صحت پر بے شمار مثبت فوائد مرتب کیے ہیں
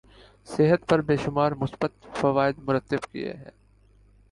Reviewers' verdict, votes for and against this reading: rejected, 1, 2